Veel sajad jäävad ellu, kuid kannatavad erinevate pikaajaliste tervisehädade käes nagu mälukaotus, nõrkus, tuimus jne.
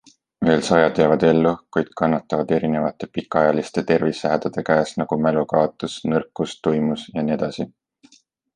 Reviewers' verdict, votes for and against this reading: accepted, 2, 0